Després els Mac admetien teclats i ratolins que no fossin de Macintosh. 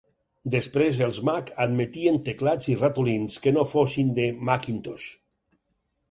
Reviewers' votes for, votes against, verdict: 4, 0, accepted